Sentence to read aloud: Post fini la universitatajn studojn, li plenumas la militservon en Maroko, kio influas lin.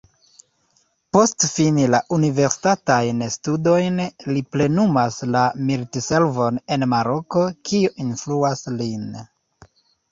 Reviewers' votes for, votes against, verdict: 3, 0, accepted